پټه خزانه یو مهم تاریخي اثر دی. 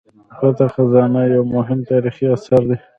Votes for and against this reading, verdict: 1, 2, rejected